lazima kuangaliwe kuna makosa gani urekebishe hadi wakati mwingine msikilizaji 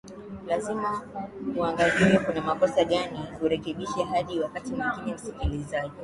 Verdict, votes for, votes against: rejected, 0, 2